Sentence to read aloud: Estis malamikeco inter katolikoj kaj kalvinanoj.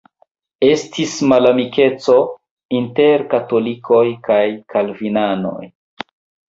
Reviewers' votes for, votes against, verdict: 1, 2, rejected